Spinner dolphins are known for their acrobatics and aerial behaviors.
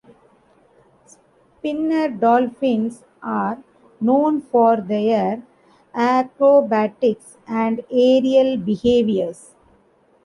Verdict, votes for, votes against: rejected, 1, 2